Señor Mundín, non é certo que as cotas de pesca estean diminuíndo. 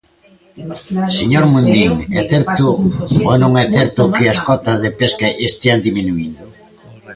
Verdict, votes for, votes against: rejected, 0, 2